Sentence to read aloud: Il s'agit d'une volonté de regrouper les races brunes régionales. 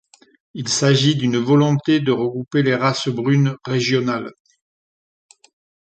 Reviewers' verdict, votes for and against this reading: accepted, 2, 0